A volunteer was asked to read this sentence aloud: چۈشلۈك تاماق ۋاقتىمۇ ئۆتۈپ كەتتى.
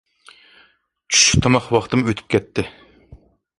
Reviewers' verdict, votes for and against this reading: accepted, 2, 0